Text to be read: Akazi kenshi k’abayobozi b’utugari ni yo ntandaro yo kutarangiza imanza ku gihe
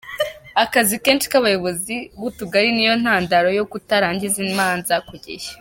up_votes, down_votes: 2, 0